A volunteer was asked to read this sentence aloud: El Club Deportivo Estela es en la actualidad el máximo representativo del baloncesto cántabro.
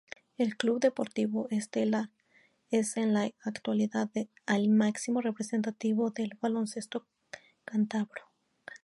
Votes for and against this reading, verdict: 0, 2, rejected